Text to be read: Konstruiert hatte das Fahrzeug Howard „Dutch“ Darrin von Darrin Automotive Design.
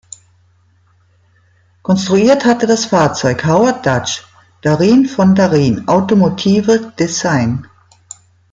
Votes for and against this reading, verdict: 2, 0, accepted